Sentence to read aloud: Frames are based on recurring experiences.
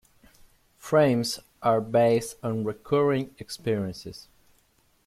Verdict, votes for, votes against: accepted, 3, 1